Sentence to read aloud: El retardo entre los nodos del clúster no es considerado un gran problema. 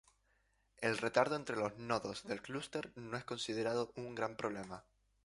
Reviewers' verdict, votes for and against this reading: accepted, 2, 0